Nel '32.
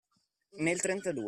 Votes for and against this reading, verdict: 0, 2, rejected